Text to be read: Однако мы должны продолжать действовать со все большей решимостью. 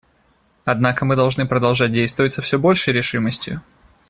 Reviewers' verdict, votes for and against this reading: accepted, 2, 0